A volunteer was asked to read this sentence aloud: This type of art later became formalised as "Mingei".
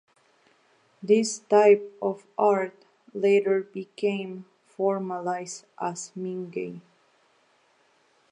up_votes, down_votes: 2, 0